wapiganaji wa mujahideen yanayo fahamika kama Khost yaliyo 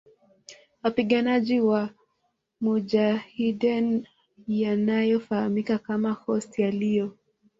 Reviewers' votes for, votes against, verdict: 2, 0, accepted